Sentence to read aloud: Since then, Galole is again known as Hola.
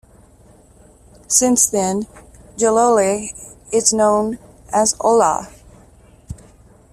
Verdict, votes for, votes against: rejected, 0, 2